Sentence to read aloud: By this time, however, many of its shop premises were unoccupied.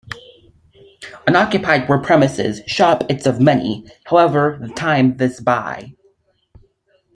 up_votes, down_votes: 0, 2